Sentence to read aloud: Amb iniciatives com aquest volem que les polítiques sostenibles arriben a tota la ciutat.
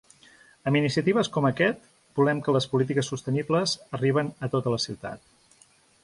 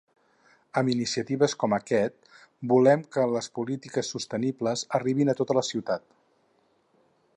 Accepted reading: first